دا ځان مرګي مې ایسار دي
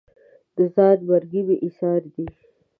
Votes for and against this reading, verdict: 0, 2, rejected